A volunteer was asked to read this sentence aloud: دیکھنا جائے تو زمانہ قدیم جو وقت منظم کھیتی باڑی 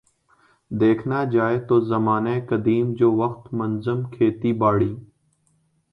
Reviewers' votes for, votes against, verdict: 2, 0, accepted